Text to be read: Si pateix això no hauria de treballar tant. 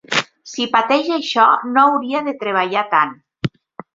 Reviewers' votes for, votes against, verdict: 3, 0, accepted